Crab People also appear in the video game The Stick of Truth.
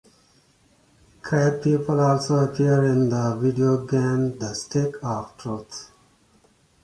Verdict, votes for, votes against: rejected, 0, 2